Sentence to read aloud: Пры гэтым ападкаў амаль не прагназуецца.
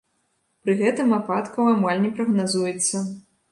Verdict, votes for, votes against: accepted, 2, 0